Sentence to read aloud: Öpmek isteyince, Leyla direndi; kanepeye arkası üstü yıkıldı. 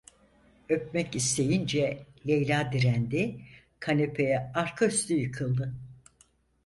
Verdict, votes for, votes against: rejected, 0, 6